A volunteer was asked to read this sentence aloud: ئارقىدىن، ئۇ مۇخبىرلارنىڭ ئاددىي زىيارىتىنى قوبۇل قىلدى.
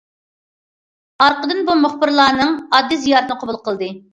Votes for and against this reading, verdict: 0, 2, rejected